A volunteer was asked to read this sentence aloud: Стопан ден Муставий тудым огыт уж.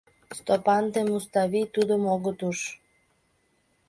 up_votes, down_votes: 2, 0